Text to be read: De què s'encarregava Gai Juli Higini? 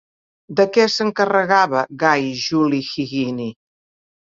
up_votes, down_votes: 1, 2